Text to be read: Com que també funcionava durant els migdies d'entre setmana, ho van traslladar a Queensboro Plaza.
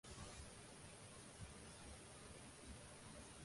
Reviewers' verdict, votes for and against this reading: rejected, 0, 2